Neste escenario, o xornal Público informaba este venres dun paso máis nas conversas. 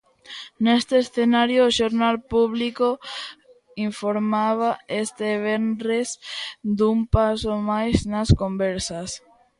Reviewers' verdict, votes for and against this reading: accepted, 2, 0